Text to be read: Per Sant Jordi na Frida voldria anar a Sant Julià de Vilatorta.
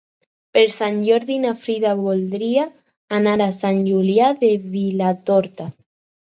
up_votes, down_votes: 4, 0